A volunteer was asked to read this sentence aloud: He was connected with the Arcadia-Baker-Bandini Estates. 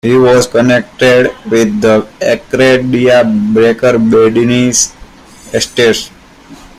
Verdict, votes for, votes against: rejected, 0, 2